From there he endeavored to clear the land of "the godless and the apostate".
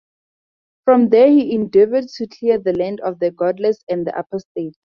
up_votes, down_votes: 2, 0